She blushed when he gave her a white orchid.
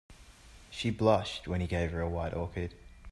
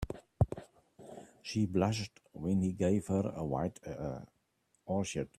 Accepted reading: first